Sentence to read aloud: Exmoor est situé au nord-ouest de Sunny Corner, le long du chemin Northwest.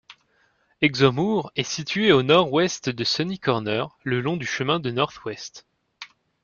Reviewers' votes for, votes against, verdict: 1, 2, rejected